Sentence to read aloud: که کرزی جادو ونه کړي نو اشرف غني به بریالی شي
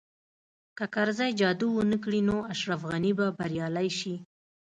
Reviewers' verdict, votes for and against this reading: accepted, 2, 0